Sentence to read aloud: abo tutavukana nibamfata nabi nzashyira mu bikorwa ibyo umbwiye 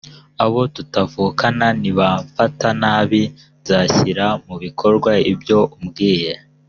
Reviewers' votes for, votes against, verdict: 1, 2, rejected